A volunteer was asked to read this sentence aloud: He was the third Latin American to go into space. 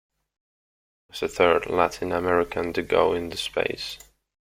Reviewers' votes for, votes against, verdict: 0, 2, rejected